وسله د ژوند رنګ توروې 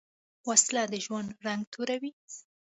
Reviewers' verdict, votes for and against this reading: accepted, 2, 0